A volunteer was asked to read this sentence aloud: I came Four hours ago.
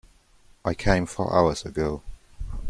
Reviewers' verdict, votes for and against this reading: accepted, 2, 0